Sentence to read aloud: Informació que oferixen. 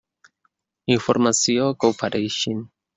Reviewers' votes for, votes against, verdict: 1, 2, rejected